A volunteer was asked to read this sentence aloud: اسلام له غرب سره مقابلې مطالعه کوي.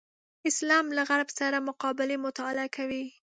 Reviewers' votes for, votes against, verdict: 2, 0, accepted